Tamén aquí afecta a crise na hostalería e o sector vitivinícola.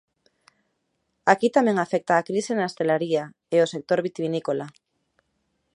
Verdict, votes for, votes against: rejected, 0, 2